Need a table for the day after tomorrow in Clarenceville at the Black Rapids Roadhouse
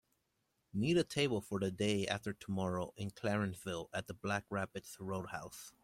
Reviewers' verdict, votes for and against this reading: accepted, 2, 0